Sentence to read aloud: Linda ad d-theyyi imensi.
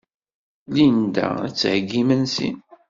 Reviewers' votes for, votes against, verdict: 2, 0, accepted